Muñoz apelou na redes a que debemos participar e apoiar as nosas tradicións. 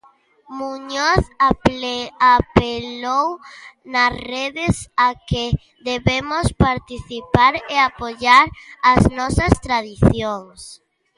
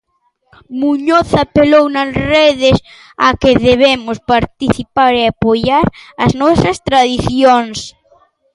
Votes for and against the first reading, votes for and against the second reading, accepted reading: 0, 2, 2, 0, second